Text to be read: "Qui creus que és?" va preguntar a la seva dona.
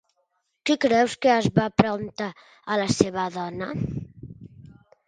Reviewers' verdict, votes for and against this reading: rejected, 1, 3